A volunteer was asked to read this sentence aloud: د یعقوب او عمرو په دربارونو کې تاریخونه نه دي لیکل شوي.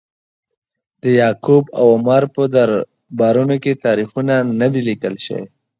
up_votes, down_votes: 2, 0